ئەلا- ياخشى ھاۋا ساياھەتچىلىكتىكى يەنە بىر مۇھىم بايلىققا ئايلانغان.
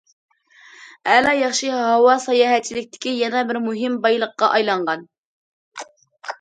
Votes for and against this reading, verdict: 2, 0, accepted